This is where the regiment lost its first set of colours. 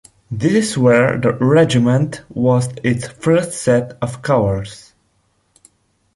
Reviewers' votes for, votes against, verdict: 0, 2, rejected